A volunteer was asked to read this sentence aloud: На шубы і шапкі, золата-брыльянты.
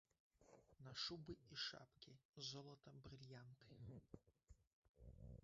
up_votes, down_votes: 1, 2